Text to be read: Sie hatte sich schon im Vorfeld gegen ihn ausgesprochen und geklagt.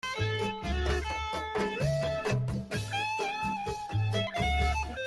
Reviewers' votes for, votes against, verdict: 0, 2, rejected